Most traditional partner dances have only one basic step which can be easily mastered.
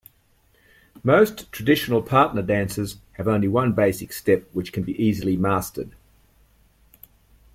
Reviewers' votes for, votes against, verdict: 2, 0, accepted